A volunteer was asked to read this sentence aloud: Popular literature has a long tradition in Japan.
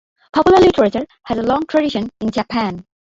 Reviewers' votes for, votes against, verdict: 2, 1, accepted